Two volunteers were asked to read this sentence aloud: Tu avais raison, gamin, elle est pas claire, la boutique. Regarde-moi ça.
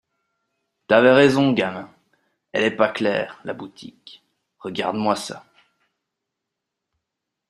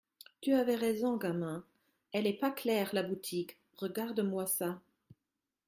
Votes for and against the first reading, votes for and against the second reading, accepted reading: 1, 2, 2, 0, second